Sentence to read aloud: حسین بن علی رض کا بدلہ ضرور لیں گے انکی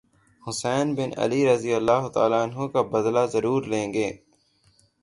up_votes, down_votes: 0, 3